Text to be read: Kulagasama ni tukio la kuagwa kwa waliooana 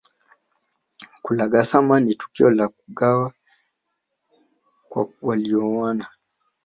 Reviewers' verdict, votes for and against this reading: rejected, 2, 3